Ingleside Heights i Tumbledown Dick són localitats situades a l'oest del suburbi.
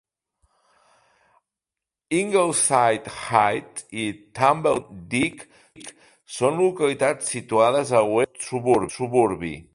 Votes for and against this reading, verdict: 0, 2, rejected